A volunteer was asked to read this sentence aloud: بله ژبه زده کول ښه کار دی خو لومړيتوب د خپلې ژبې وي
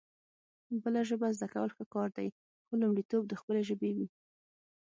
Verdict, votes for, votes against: rejected, 3, 6